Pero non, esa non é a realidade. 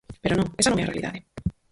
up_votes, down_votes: 0, 4